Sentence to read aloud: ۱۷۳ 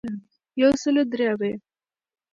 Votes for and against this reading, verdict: 0, 2, rejected